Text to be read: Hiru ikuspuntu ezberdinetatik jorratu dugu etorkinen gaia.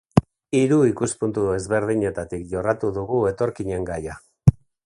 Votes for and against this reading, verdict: 2, 0, accepted